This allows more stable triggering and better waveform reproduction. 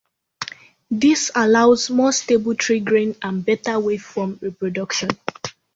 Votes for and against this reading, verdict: 2, 0, accepted